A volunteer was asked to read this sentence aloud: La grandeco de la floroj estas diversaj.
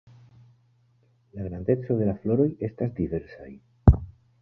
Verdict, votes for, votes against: accepted, 2, 1